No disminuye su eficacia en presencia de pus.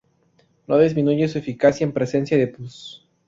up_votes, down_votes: 0, 2